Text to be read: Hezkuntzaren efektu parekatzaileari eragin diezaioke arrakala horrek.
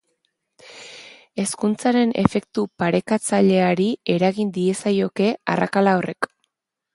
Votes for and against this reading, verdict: 3, 0, accepted